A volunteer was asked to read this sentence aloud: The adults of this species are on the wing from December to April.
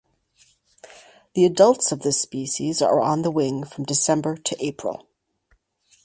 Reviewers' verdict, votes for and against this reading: accepted, 4, 0